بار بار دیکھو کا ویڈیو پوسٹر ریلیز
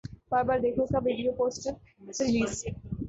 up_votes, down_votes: 7, 3